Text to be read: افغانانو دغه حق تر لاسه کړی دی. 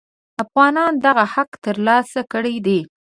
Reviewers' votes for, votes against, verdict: 0, 2, rejected